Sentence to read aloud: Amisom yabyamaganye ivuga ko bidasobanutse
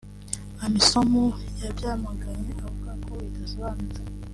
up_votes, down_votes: 2, 1